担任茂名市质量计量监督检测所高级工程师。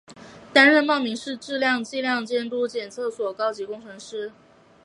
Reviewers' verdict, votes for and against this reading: accepted, 2, 0